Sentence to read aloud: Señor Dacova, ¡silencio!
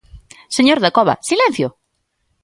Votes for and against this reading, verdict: 2, 0, accepted